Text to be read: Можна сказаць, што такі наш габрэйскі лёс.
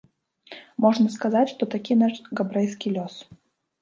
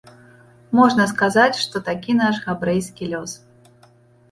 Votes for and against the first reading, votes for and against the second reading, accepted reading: 0, 2, 2, 0, second